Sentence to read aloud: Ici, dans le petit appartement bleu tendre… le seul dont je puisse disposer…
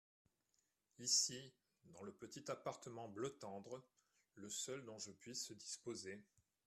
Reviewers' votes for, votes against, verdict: 2, 0, accepted